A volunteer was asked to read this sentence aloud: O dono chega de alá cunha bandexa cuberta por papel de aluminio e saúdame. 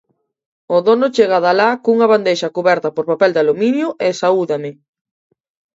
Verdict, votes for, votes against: accepted, 2, 0